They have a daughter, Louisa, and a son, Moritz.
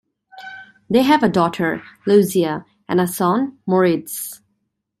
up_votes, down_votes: 0, 2